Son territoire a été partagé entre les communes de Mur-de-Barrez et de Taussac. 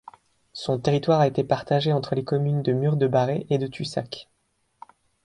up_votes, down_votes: 1, 2